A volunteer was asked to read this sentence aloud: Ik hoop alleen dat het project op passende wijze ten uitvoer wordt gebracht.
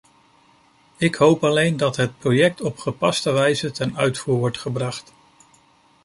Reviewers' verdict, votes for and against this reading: rejected, 0, 2